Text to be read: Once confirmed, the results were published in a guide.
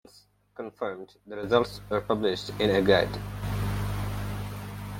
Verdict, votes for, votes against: rejected, 0, 2